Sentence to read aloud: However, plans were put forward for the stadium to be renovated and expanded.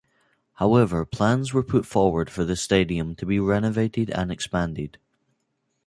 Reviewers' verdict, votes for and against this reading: accepted, 2, 0